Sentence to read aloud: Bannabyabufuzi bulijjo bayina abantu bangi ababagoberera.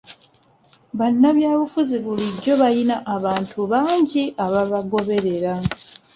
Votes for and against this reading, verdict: 0, 2, rejected